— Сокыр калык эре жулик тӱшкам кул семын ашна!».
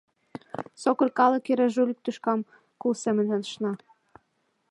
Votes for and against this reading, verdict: 1, 2, rejected